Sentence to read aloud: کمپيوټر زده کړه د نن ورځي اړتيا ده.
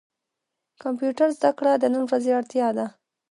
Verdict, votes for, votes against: accepted, 2, 1